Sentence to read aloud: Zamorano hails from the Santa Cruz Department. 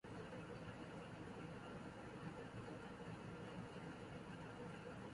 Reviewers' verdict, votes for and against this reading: rejected, 0, 2